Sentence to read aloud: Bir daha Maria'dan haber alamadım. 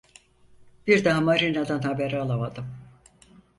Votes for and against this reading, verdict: 0, 4, rejected